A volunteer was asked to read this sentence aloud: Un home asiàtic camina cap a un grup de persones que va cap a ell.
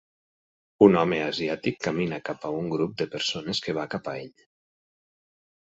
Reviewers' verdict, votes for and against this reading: accepted, 6, 0